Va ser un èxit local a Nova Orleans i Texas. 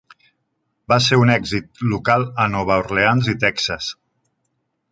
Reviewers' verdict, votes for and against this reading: accepted, 3, 0